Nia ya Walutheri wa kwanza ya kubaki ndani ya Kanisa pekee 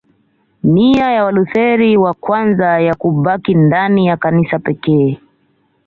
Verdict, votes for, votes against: accepted, 2, 0